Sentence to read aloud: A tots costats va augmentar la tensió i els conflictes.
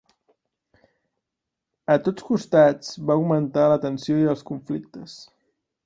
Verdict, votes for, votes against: accepted, 2, 0